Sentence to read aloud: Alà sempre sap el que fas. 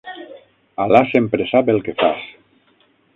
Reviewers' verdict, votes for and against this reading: rejected, 3, 6